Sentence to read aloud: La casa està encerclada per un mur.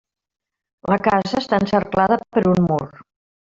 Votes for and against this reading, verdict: 0, 2, rejected